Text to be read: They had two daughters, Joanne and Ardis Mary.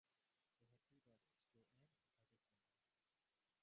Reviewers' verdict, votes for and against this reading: rejected, 0, 2